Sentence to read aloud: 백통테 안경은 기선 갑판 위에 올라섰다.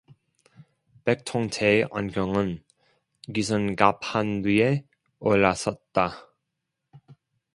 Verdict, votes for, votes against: rejected, 1, 2